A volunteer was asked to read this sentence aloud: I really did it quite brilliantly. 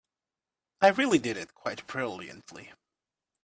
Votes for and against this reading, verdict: 3, 0, accepted